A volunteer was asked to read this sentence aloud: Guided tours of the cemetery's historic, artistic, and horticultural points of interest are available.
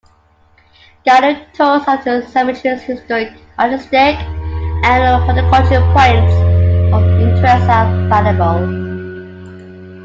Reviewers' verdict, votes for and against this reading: rejected, 0, 2